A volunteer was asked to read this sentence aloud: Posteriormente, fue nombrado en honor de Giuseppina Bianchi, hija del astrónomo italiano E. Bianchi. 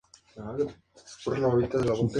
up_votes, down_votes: 0, 2